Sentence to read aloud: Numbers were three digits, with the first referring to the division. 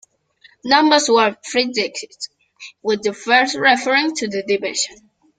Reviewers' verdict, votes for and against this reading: accepted, 2, 0